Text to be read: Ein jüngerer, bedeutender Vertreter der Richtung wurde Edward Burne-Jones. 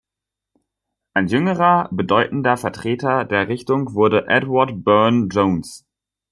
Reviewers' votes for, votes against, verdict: 2, 1, accepted